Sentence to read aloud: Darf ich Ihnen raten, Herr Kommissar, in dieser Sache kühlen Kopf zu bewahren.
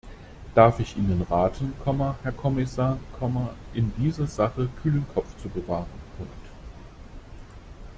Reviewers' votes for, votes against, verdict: 1, 2, rejected